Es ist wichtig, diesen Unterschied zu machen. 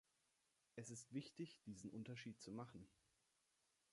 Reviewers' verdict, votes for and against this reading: accepted, 2, 0